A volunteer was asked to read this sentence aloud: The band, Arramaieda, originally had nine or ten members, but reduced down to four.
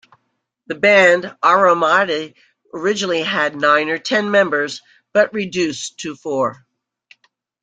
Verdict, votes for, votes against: rejected, 1, 2